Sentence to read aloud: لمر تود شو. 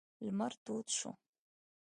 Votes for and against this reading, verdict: 2, 0, accepted